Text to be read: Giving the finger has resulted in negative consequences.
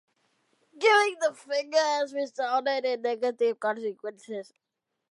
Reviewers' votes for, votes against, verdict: 1, 2, rejected